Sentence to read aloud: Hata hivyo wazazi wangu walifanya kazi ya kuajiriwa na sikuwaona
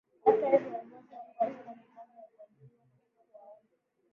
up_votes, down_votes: 0, 2